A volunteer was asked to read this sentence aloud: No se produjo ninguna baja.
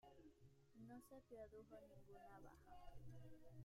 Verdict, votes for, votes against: rejected, 0, 2